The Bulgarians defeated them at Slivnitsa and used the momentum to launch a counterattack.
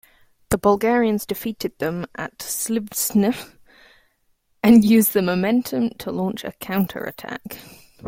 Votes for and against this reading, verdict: 0, 2, rejected